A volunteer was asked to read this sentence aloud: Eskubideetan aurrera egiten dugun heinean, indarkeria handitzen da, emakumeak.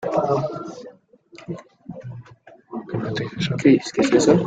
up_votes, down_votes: 1, 2